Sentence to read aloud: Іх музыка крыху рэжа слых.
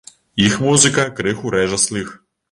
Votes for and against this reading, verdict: 1, 2, rejected